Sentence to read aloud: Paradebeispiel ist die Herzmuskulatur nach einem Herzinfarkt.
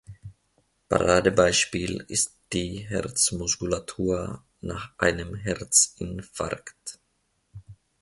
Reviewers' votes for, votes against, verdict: 2, 0, accepted